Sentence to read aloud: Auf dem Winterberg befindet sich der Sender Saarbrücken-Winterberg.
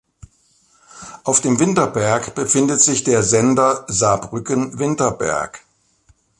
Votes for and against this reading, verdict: 2, 0, accepted